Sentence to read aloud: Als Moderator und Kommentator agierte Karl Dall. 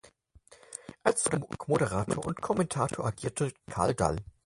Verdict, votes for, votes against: rejected, 0, 4